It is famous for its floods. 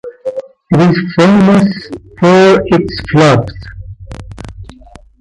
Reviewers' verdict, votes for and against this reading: rejected, 1, 2